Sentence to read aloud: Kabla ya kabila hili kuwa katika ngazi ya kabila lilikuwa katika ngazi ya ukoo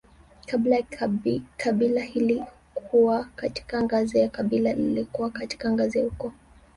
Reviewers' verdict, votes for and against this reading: rejected, 1, 2